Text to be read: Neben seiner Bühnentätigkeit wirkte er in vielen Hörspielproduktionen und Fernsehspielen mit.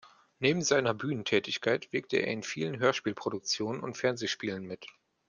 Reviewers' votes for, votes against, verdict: 2, 0, accepted